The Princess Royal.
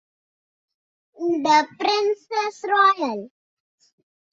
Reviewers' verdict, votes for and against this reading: rejected, 0, 2